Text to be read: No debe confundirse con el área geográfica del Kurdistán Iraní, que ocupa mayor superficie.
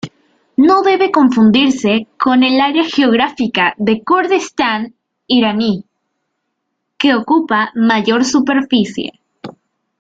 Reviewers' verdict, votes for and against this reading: accepted, 2, 1